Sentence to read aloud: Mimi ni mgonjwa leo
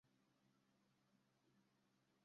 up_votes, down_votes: 0, 2